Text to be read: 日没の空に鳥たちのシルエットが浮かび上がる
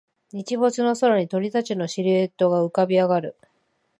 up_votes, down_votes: 2, 0